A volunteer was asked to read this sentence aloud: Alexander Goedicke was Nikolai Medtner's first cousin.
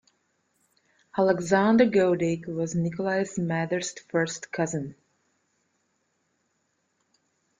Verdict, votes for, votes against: accepted, 2, 1